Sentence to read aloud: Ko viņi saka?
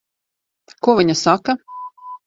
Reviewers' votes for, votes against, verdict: 0, 2, rejected